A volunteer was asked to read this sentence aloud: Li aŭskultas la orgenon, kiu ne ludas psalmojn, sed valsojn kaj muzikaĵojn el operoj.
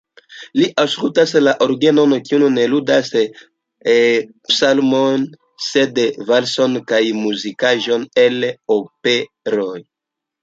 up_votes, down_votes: 2, 0